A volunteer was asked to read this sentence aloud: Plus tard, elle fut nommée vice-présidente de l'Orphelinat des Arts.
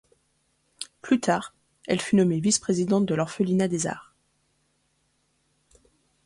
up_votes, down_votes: 3, 0